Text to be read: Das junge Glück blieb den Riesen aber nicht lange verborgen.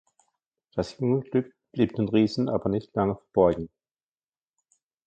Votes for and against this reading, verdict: 1, 2, rejected